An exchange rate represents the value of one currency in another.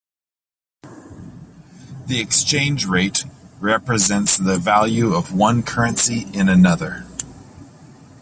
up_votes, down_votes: 0, 2